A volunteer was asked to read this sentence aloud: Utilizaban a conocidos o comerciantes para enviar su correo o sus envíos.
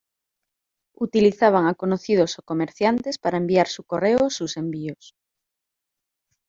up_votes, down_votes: 0, 2